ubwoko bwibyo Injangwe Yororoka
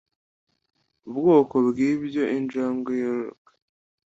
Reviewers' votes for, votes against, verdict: 2, 0, accepted